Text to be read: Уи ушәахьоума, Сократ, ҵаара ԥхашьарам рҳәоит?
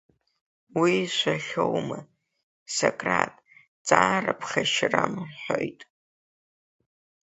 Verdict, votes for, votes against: rejected, 1, 2